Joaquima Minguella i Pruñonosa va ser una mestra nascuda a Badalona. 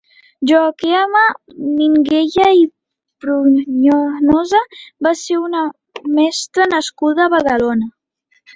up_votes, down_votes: 0, 2